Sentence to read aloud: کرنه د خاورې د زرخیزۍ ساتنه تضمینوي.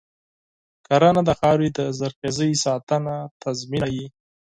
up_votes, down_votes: 2, 4